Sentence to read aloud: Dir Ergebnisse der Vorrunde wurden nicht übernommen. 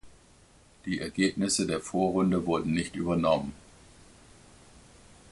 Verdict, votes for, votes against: rejected, 0, 2